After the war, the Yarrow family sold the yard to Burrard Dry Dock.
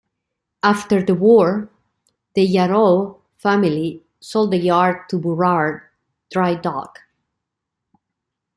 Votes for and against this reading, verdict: 2, 1, accepted